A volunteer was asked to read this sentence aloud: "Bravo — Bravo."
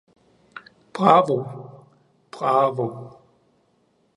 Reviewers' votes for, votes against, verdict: 2, 0, accepted